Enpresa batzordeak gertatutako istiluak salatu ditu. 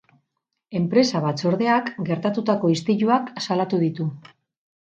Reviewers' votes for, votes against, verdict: 6, 4, accepted